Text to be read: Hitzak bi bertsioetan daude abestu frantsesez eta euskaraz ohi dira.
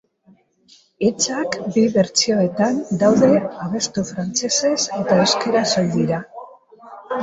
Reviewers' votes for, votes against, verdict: 1, 2, rejected